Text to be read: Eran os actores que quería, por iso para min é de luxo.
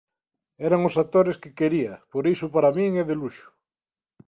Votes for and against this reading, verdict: 2, 0, accepted